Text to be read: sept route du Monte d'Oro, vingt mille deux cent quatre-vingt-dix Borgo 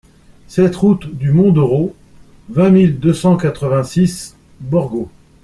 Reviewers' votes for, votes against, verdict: 0, 2, rejected